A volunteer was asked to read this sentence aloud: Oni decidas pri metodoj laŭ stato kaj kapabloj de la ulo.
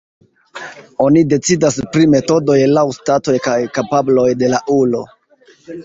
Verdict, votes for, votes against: accepted, 2, 0